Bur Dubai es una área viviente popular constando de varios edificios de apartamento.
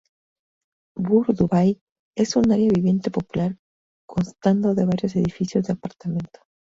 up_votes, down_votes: 2, 2